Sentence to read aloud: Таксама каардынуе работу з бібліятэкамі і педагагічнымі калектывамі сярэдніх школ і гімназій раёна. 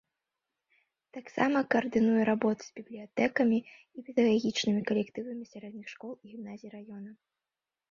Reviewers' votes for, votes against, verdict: 2, 5, rejected